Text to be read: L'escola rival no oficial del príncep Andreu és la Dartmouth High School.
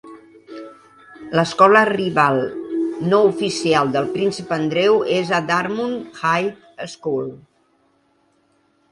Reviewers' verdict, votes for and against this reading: rejected, 1, 2